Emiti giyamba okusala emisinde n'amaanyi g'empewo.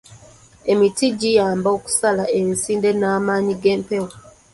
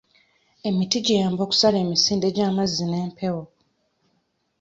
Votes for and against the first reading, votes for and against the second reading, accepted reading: 2, 0, 0, 2, first